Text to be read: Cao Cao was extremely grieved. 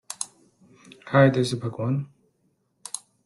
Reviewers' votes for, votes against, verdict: 0, 2, rejected